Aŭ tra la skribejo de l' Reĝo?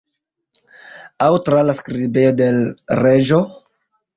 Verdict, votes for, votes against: rejected, 0, 2